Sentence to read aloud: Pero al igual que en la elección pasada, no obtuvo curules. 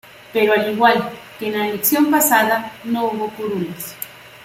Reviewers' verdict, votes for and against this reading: rejected, 0, 2